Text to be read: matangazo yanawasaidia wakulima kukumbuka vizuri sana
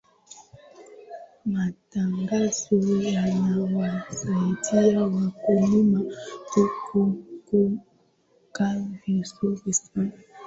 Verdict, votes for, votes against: accepted, 3, 2